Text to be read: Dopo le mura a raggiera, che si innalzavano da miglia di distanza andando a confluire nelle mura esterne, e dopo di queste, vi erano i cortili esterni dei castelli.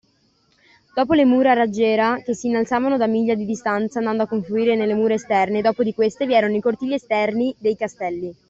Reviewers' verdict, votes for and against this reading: accepted, 2, 0